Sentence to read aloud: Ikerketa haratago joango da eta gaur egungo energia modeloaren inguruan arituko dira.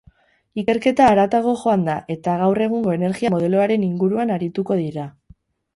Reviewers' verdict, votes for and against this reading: rejected, 0, 2